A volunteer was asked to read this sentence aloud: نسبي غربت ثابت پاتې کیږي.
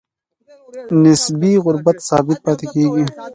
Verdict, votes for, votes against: accepted, 2, 0